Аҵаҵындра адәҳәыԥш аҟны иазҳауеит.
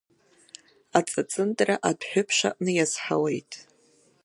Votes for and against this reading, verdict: 2, 0, accepted